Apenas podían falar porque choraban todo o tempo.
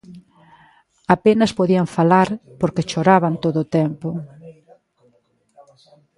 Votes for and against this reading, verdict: 2, 1, accepted